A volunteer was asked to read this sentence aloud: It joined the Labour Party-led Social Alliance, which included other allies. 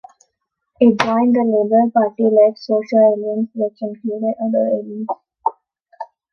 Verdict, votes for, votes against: rejected, 1, 3